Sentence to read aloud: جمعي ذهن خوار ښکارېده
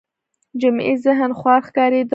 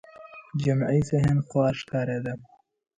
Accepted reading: second